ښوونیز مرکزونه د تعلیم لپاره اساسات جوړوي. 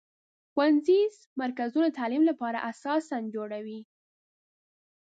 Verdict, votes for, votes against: rejected, 0, 2